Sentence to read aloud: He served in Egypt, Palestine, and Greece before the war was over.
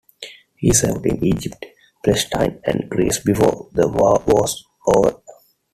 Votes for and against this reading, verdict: 2, 1, accepted